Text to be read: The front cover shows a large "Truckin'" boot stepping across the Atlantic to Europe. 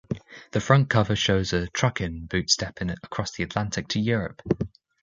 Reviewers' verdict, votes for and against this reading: rejected, 0, 2